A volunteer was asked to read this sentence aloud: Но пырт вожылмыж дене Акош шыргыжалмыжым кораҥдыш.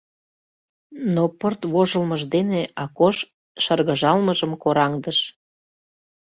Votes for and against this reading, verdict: 2, 0, accepted